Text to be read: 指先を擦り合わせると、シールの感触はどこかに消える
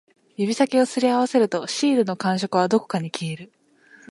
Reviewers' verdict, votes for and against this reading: accepted, 2, 0